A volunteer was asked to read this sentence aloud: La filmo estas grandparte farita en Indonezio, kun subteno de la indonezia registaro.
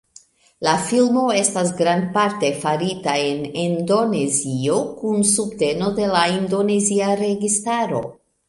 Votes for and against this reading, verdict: 2, 1, accepted